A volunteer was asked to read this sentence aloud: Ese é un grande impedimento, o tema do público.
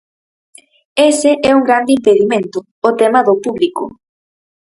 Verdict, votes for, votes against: accepted, 6, 0